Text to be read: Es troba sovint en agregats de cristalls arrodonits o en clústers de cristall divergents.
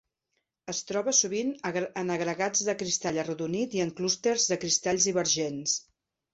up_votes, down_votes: 0, 2